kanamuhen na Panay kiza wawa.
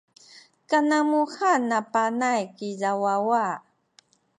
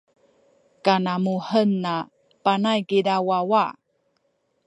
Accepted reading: first